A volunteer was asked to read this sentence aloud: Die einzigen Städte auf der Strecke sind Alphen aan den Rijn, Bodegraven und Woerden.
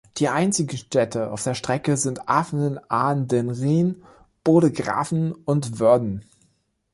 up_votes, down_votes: 0, 2